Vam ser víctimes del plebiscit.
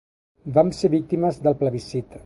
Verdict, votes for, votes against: accepted, 2, 0